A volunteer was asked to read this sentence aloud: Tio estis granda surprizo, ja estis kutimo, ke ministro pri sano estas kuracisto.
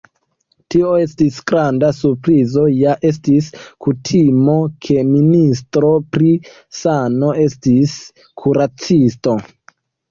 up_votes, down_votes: 1, 2